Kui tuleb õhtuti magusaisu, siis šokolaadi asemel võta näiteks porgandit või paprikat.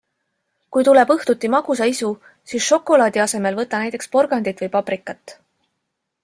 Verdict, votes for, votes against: accepted, 2, 0